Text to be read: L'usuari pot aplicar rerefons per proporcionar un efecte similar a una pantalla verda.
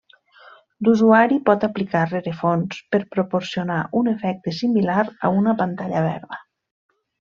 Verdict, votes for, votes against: accepted, 3, 0